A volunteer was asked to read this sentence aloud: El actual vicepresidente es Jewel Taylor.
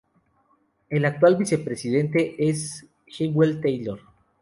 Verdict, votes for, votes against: accepted, 2, 0